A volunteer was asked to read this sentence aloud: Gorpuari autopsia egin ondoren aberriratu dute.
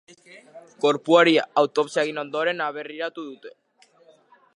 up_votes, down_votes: 2, 0